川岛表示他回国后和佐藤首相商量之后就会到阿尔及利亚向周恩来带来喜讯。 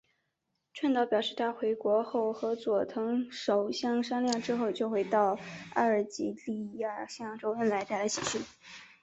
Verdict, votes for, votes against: accepted, 2, 0